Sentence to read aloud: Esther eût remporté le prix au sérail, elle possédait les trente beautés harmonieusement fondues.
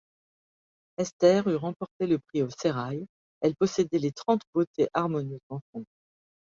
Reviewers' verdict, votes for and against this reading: rejected, 0, 2